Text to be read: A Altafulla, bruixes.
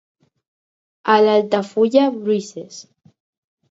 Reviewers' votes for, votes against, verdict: 2, 6, rejected